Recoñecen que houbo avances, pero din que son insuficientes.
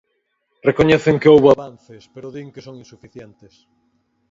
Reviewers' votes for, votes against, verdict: 2, 4, rejected